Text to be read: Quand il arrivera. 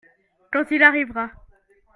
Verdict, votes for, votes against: accepted, 2, 0